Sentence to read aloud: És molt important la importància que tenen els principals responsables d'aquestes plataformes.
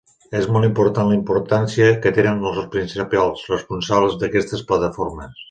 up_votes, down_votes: 2, 3